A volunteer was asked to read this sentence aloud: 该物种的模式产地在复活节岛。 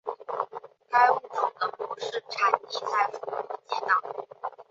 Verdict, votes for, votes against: rejected, 1, 2